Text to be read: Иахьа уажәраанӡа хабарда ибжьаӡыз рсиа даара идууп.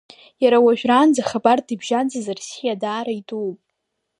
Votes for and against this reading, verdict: 0, 2, rejected